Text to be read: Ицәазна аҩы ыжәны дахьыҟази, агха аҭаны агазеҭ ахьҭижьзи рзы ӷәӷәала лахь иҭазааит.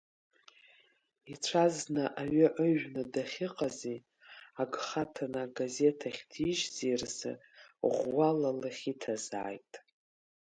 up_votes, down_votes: 2, 0